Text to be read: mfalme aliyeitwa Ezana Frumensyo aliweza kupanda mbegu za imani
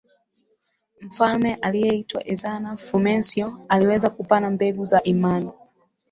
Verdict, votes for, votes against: rejected, 1, 4